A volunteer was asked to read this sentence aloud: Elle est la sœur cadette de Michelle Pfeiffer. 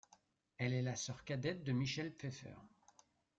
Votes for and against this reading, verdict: 2, 0, accepted